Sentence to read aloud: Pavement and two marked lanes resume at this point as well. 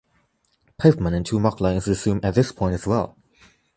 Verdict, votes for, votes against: rejected, 1, 2